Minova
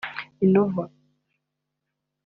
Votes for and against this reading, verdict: 3, 1, accepted